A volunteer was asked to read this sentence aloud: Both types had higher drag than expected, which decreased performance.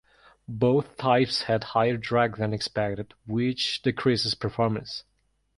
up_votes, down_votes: 1, 2